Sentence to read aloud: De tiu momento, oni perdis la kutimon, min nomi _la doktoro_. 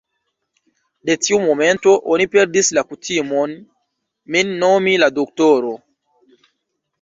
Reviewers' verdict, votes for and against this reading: rejected, 1, 2